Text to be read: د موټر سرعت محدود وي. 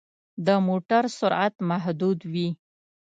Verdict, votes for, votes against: accepted, 2, 0